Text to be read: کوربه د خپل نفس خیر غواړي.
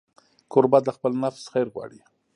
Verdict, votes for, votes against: accepted, 3, 0